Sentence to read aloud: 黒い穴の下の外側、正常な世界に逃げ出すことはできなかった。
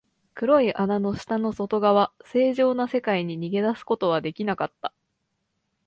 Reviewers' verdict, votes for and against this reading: accepted, 2, 0